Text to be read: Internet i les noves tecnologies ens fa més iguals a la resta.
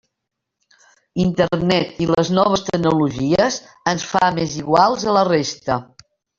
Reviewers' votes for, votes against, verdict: 1, 3, rejected